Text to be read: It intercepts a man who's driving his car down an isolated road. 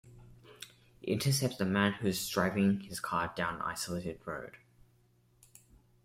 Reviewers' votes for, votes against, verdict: 2, 0, accepted